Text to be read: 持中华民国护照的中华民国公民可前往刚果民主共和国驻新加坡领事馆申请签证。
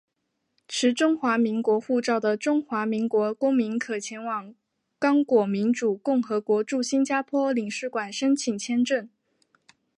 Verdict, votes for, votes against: accepted, 2, 0